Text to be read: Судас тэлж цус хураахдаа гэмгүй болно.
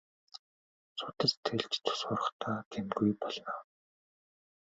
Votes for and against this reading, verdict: 2, 1, accepted